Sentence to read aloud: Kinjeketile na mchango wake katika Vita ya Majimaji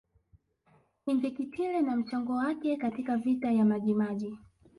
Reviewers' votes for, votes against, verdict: 1, 2, rejected